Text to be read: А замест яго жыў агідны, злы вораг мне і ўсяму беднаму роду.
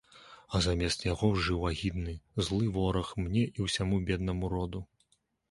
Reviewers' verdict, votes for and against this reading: accepted, 2, 0